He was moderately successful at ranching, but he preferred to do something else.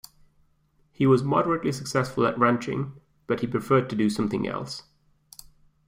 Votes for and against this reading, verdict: 2, 0, accepted